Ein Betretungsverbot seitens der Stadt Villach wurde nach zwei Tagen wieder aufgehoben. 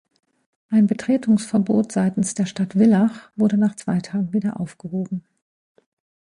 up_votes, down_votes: 0, 2